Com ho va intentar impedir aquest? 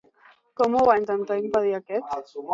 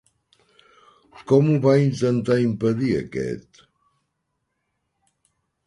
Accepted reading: second